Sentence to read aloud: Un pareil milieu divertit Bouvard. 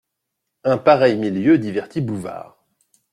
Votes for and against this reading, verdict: 2, 0, accepted